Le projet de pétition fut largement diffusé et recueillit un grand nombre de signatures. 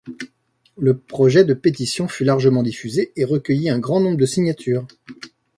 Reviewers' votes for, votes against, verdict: 2, 0, accepted